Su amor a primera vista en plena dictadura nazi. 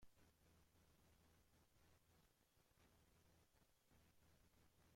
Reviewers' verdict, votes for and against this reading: rejected, 0, 2